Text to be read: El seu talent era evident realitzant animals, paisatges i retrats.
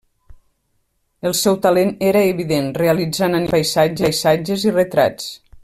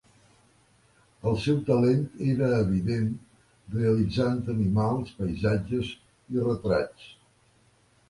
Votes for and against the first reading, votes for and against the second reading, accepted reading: 0, 2, 3, 0, second